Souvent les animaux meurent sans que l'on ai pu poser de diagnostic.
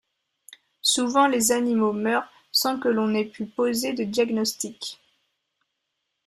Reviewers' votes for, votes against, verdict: 2, 0, accepted